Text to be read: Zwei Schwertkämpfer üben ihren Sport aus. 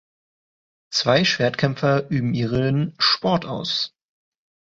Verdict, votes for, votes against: rejected, 1, 2